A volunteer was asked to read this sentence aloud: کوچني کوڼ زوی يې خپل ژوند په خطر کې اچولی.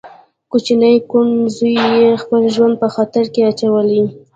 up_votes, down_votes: 1, 2